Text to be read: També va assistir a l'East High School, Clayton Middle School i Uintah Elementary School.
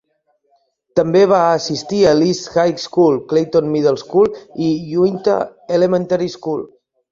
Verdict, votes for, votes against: accepted, 2, 1